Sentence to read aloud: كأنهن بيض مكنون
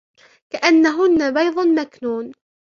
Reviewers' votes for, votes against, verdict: 0, 2, rejected